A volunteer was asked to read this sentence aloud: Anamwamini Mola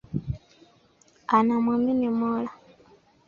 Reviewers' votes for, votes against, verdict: 2, 0, accepted